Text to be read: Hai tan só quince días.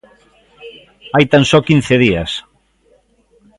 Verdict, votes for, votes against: accepted, 2, 0